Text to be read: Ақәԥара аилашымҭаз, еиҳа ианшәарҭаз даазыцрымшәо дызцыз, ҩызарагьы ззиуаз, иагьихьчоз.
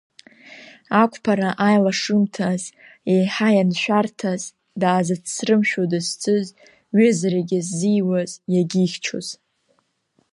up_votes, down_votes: 2, 0